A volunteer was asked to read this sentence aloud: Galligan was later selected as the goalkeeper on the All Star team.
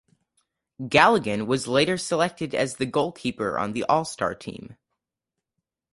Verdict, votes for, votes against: accepted, 4, 0